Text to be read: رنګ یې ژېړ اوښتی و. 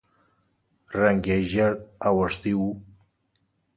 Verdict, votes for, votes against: accepted, 4, 0